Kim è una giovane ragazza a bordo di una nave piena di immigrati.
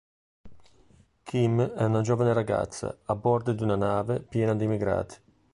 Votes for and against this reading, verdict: 5, 0, accepted